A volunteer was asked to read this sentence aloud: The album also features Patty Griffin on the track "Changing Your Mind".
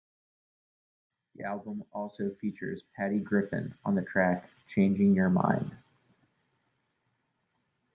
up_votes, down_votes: 2, 0